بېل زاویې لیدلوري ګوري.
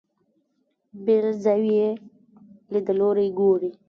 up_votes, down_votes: 1, 2